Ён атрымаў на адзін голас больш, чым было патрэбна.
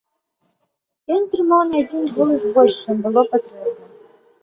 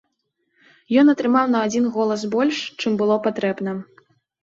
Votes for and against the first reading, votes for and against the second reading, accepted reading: 1, 2, 2, 0, second